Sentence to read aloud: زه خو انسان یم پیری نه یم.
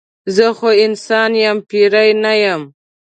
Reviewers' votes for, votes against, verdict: 2, 0, accepted